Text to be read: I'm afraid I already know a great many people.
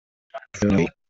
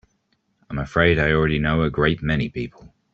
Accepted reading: second